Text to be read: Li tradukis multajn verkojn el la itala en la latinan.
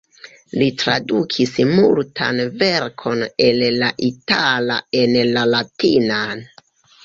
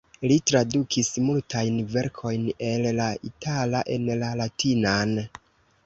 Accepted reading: second